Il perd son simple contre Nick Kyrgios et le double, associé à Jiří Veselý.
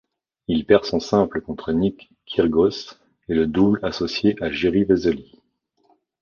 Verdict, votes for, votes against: accepted, 2, 1